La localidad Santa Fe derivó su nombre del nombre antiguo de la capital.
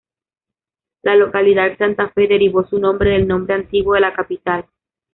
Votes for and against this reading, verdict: 0, 2, rejected